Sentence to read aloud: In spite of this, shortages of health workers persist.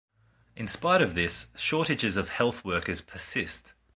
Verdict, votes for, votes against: accepted, 2, 0